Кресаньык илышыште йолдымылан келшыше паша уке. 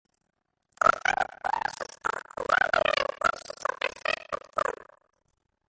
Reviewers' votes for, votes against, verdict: 0, 2, rejected